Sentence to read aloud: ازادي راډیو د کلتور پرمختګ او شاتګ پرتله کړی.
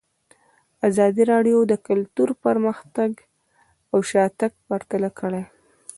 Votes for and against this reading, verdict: 1, 2, rejected